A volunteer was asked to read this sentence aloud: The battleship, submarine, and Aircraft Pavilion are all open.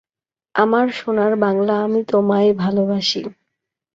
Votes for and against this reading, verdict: 0, 2, rejected